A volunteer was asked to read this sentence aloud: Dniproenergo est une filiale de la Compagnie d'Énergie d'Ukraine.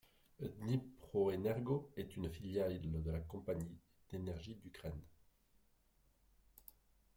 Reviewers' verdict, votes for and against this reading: rejected, 0, 2